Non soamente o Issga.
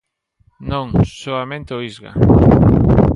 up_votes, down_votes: 2, 1